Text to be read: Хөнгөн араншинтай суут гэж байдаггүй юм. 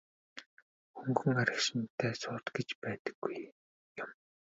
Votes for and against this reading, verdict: 1, 2, rejected